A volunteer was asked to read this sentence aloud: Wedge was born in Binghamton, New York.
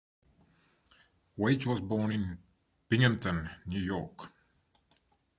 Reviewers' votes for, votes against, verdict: 0, 2, rejected